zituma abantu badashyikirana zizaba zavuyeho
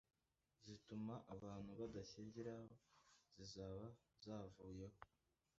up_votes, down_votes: 1, 2